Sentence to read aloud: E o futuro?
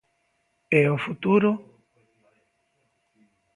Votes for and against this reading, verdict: 2, 0, accepted